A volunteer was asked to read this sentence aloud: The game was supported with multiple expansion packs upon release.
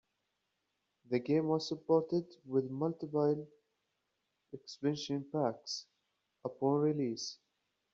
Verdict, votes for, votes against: accepted, 2, 1